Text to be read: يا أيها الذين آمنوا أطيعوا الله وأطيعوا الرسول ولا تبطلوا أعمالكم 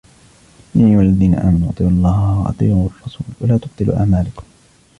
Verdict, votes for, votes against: rejected, 1, 2